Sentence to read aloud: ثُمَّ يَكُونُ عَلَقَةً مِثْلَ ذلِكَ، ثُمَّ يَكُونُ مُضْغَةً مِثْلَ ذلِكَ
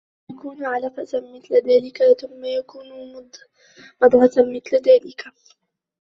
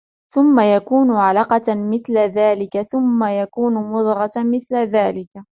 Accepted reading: second